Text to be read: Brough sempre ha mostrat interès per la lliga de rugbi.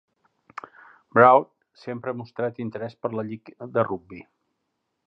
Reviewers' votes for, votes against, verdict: 0, 2, rejected